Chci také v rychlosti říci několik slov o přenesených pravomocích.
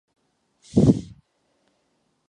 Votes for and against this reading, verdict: 0, 2, rejected